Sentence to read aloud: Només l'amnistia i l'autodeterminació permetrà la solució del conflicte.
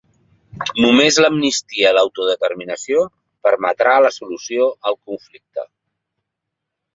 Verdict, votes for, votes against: rejected, 1, 2